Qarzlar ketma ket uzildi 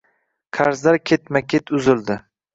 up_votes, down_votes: 2, 0